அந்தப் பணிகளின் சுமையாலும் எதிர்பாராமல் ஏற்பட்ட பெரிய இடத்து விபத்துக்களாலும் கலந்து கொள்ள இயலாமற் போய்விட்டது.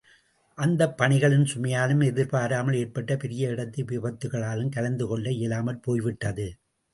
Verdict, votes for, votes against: accepted, 2, 0